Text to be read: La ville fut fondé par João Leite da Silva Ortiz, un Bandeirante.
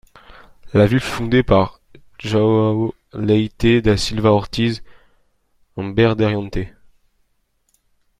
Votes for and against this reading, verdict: 2, 1, accepted